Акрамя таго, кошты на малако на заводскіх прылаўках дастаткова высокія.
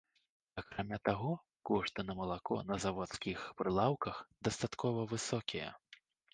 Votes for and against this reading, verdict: 2, 0, accepted